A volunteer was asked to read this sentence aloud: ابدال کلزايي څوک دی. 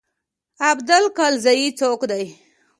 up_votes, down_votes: 2, 0